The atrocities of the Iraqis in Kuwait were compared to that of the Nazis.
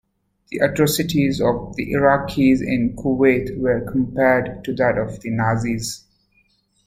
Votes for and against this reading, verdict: 2, 1, accepted